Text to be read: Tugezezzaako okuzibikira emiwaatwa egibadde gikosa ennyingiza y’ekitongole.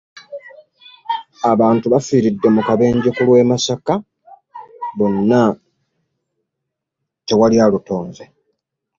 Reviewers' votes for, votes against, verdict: 0, 2, rejected